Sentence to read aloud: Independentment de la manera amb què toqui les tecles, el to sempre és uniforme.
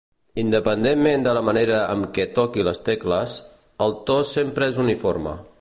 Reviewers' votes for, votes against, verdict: 2, 0, accepted